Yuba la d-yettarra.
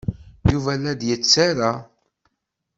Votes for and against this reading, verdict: 2, 0, accepted